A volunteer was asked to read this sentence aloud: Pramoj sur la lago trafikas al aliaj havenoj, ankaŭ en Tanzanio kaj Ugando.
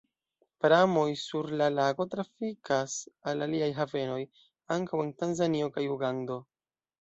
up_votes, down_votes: 2, 0